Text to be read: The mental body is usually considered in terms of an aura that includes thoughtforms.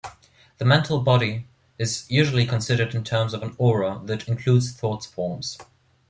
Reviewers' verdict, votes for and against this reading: accepted, 2, 0